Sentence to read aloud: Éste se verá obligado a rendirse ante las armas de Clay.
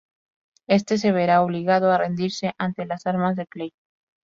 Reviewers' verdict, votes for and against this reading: accepted, 4, 0